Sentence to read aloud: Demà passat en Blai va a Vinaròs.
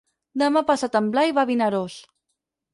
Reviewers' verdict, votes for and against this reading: accepted, 6, 0